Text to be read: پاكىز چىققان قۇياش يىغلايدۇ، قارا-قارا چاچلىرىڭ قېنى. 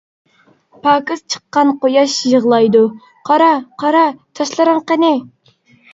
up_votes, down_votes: 2, 0